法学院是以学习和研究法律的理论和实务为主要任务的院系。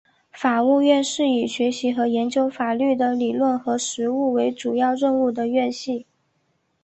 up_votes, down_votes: 3, 0